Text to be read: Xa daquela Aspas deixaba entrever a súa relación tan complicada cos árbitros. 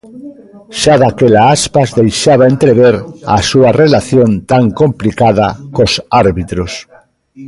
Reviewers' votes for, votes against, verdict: 1, 2, rejected